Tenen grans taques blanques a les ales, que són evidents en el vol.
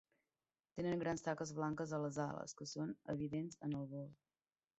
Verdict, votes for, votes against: rejected, 1, 2